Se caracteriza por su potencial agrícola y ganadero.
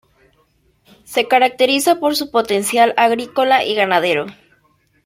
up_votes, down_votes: 2, 0